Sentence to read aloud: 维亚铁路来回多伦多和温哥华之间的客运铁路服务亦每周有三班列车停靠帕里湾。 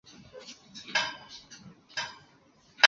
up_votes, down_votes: 0, 3